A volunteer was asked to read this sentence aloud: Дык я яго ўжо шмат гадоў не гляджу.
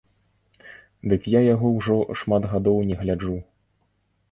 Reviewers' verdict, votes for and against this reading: rejected, 0, 2